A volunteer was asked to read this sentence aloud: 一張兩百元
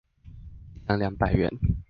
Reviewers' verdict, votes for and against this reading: rejected, 0, 2